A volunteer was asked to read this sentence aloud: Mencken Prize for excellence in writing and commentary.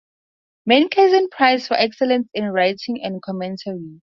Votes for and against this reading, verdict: 0, 2, rejected